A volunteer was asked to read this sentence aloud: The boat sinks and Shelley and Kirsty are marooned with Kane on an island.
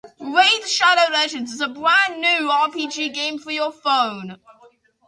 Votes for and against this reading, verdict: 0, 2, rejected